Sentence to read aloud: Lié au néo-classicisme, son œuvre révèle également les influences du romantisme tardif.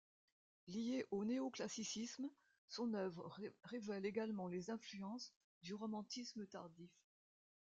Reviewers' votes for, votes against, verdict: 0, 2, rejected